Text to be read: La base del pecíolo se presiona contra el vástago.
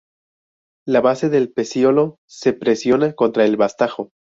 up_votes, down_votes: 0, 2